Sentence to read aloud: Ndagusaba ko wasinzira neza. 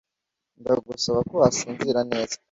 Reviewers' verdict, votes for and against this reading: accepted, 2, 0